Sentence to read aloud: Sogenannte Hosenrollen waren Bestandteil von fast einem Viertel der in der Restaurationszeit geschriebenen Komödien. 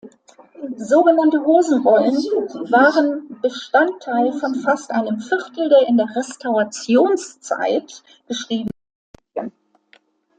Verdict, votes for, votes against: rejected, 0, 2